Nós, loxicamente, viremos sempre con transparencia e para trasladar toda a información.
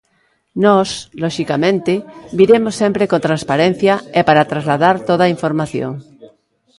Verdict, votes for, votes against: accepted, 2, 0